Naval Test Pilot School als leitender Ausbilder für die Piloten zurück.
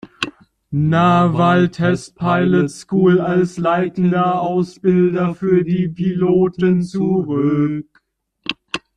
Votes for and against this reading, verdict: 0, 2, rejected